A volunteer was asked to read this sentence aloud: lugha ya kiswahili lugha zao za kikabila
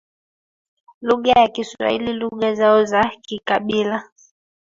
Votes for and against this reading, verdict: 3, 1, accepted